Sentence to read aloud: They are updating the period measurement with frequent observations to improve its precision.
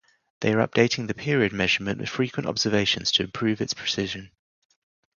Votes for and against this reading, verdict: 2, 2, rejected